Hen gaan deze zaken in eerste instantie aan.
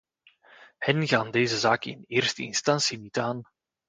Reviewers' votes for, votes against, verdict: 0, 2, rejected